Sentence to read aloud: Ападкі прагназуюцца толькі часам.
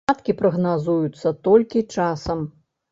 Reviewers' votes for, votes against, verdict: 0, 2, rejected